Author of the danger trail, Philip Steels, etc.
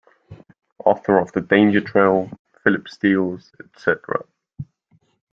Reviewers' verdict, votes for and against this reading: accepted, 2, 0